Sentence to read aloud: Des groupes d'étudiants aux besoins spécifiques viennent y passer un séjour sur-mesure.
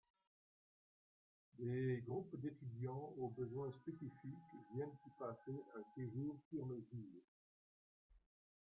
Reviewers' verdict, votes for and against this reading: rejected, 0, 2